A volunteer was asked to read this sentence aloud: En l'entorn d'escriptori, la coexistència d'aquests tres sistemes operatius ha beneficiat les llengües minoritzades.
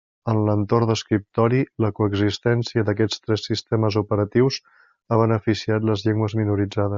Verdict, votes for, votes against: accepted, 3, 0